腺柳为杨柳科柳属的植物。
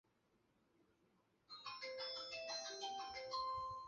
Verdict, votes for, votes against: rejected, 0, 2